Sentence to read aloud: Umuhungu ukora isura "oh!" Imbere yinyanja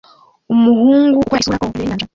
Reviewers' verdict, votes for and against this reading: rejected, 0, 2